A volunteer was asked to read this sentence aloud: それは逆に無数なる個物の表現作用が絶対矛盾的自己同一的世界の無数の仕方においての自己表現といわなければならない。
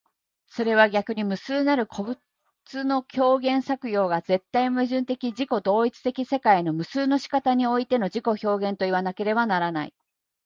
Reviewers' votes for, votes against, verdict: 2, 0, accepted